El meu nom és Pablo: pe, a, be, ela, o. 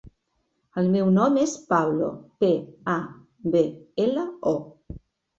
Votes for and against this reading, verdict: 3, 0, accepted